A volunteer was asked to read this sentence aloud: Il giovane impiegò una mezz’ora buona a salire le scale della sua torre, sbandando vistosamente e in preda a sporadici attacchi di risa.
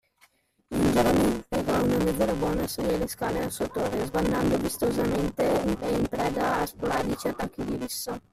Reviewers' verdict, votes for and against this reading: rejected, 0, 2